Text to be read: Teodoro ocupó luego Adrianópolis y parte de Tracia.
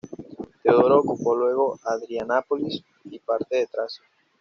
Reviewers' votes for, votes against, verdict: 0, 2, rejected